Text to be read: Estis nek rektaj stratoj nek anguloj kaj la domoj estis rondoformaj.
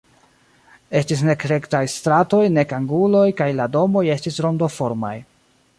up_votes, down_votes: 2, 0